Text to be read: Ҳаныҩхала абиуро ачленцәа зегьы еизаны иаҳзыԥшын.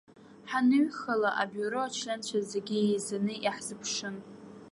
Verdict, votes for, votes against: accepted, 2, 1